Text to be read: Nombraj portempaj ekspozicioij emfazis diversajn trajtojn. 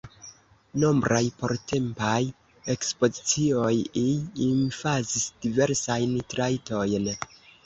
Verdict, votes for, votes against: rejected, 1, 2